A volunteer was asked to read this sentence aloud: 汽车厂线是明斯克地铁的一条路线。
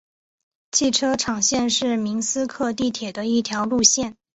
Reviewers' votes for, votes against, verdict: 3, 0, accepted